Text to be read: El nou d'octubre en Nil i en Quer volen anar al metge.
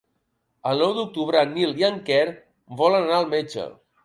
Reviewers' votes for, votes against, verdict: 2, 0, accepted